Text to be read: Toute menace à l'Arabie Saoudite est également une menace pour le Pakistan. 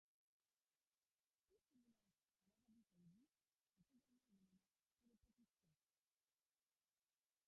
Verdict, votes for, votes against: rejected, 0, 2